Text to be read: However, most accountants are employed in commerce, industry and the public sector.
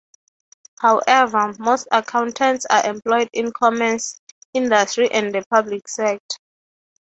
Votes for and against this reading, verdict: 0, 3, rejected